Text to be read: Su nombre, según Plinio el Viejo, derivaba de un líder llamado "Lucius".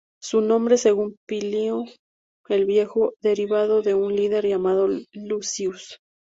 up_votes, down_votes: 2, 0